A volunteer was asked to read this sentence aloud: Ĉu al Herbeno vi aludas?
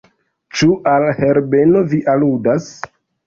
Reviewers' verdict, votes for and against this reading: accepted, 2, 1